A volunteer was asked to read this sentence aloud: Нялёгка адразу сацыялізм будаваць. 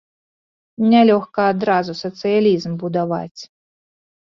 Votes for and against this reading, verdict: 2, 0, accepted